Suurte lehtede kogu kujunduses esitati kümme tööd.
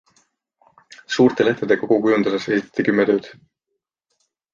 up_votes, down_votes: 2, 1